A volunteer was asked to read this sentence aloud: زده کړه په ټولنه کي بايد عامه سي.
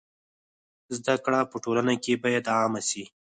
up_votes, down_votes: 2, 4